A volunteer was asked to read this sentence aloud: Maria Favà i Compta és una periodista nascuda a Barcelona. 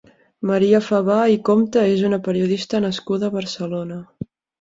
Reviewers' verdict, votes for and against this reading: accepted, 2, 0